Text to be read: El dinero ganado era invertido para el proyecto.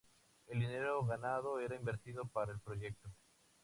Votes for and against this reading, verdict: 2, 0, accepted